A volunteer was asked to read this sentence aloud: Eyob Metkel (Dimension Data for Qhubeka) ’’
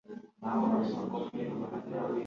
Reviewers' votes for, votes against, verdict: 1, 2, rejected